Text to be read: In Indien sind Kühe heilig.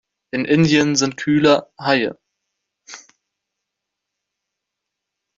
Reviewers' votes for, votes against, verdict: 0, 3, rejected